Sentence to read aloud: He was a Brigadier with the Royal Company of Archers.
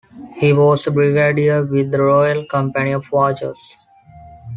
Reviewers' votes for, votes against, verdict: 1, 2, rejected